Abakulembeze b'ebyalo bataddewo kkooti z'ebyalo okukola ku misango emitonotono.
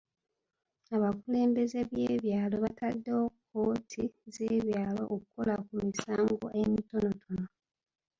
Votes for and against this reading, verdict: 1, 2, rejected